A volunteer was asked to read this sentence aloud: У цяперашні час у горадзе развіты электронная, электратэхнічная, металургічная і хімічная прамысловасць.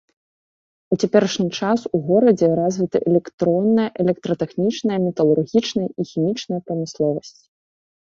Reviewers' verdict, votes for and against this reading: rejected, 1, 2